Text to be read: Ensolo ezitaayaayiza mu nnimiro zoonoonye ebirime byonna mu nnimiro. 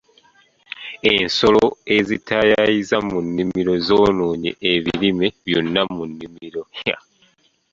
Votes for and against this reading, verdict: 0, 2, rejected